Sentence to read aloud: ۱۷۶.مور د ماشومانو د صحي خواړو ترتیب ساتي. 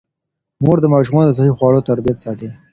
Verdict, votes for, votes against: rejected, 0, 2